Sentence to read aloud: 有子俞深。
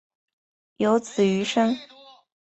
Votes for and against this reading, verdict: 2, 0, accepted